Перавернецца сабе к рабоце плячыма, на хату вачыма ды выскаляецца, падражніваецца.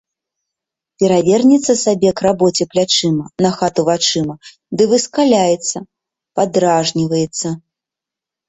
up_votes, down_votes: 2, 0